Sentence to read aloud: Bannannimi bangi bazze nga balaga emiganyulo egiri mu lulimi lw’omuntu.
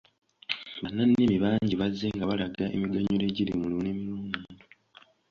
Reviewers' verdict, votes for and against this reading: accepted, 3, 2